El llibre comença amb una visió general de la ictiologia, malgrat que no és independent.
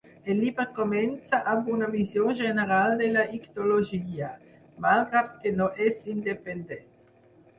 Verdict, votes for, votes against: accepted, 6, 0